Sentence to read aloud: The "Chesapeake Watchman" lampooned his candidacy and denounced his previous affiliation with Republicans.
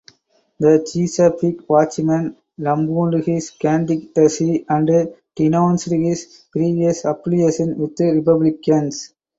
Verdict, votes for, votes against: rejected, 2, 2